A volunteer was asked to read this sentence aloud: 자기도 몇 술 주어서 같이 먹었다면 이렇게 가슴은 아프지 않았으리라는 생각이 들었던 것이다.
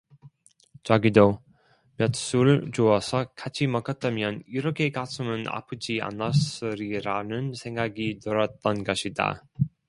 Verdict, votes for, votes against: rejected, 1, 2